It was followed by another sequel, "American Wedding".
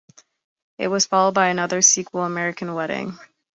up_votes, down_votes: 2, 0